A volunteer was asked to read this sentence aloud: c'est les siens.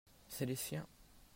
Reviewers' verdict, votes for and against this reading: accepted, 2, 1